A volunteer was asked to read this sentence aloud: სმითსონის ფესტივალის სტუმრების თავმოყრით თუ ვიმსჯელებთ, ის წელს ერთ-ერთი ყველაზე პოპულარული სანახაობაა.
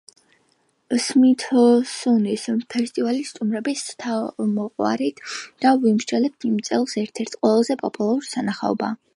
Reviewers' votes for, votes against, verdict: 1, 2, rejected